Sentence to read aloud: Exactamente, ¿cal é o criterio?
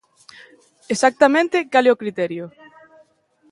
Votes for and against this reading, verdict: 1, 2, rejected